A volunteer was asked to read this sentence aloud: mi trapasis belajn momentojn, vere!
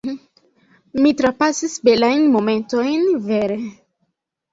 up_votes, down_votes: 2, 1